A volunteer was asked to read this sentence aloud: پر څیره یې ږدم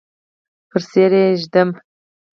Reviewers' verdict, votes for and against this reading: accepted, 4, 0